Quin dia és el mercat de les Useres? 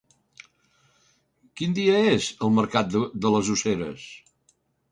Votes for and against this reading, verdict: 0, 2, rejected